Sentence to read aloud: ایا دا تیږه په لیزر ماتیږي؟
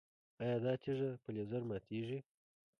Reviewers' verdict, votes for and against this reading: rejected, 1, 2